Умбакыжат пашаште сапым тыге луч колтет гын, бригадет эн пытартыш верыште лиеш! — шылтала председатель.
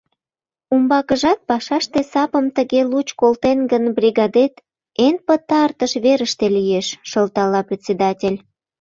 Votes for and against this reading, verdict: 0, 2, rejected